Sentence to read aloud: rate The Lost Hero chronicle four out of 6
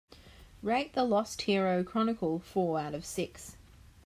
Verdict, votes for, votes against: rejected, 0, 2